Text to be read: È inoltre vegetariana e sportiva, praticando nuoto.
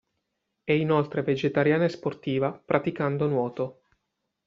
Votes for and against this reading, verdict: 0, 2, rejected